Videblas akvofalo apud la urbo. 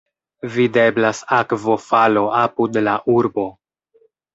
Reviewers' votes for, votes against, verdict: 2, 0, accepted